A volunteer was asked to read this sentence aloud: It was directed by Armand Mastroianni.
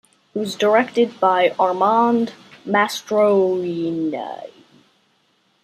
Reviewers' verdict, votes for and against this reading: rejected, 1, 2